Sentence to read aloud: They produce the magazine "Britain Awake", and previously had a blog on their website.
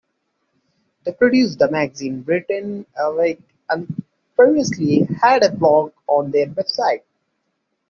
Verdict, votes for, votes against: accepted, 2, 1